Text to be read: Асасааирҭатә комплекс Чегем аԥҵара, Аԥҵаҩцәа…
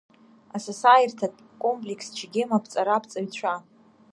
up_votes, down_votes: 2, 1